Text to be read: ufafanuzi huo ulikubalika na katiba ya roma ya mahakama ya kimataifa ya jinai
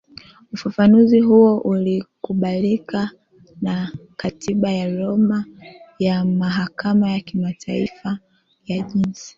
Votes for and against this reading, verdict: 0, 2, rejected